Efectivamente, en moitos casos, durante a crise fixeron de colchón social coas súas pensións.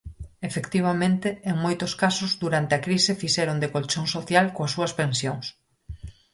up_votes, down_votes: 4, 0